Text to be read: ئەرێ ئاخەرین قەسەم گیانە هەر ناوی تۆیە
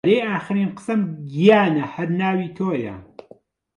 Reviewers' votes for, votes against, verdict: 1, 2, rejected